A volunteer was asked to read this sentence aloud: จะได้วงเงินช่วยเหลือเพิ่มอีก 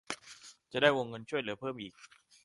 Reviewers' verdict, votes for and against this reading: accepted, 2, 0